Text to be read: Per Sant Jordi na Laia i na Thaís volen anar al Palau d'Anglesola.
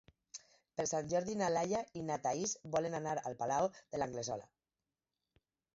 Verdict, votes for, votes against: rejected, 2, 4